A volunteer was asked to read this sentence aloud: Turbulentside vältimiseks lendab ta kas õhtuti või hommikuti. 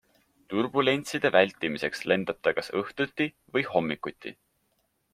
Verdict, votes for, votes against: accepted, 2, 0